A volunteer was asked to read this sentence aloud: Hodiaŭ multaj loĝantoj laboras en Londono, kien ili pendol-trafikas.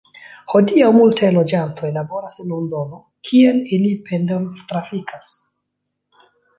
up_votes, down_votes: 2, 0